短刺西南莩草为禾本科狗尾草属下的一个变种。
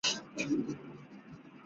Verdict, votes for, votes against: rejected, 5, 6